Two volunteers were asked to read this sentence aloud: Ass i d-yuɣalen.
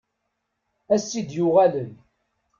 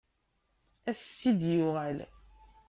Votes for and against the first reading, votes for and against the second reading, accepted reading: 2, 0, 0, 2, first